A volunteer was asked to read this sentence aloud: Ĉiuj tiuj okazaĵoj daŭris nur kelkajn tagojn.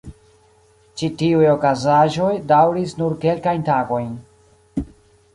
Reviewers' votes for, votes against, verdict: 1, 2, rejected